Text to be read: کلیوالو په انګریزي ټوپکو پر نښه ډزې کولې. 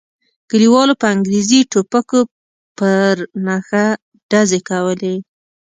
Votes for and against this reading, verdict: 0, 2, rejected